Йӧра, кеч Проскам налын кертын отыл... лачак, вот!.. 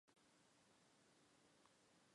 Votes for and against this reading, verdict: 0, 5, rejected